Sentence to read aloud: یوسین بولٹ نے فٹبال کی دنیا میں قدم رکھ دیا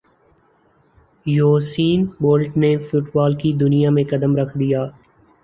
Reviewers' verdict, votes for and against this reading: rejected, 3, 3